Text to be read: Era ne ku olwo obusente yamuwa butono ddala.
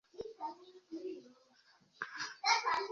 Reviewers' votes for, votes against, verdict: 0, 2, rejected